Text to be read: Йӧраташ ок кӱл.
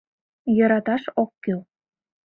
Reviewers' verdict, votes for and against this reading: accepted, 2, 0